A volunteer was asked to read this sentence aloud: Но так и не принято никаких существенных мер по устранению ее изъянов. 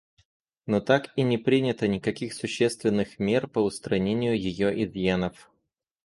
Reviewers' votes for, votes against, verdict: 0, 2, rejected